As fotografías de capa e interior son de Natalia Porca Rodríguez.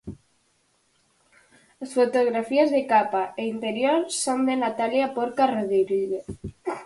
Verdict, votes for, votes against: rejected, 0, 4